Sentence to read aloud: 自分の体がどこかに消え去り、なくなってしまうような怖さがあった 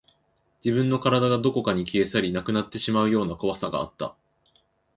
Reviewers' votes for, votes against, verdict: 3, 0, accepted